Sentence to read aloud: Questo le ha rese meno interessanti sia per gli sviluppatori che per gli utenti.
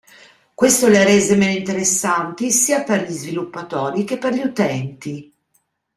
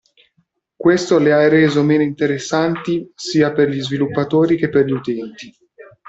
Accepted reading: first